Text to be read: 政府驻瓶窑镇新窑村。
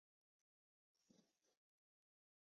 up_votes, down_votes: 5, 4